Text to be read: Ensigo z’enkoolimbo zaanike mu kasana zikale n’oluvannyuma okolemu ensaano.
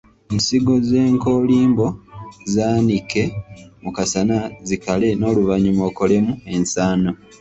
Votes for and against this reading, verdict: 2, 1, accepted